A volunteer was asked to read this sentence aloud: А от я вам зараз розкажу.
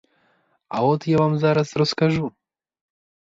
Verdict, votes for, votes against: accepted, 4, 0